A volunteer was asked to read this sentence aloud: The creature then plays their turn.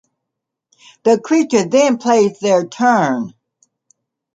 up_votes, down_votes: 2, 0